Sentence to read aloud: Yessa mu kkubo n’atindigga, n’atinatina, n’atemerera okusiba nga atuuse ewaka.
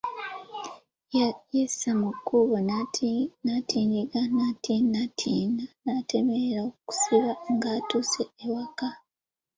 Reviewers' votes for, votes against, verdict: 0, 2, rejected